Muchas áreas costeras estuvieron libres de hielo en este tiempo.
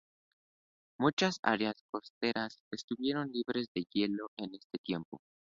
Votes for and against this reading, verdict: 2, 0, accepted